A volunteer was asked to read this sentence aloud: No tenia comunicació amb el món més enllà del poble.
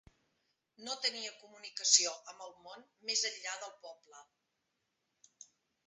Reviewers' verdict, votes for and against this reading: rejected, 0, 2